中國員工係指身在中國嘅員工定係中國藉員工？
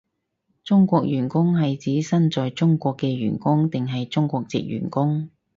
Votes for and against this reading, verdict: 4, 0, accepted